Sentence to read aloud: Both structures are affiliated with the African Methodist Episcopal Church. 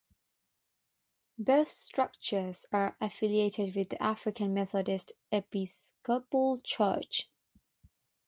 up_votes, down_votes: 3, 6